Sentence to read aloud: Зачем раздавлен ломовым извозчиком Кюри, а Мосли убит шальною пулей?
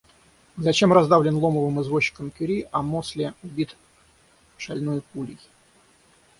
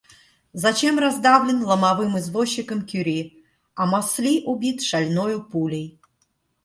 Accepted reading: second